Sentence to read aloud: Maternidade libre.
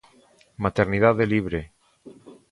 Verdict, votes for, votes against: accepted, 2, 0